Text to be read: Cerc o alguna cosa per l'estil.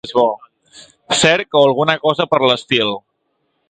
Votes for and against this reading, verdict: 2, 1, accepted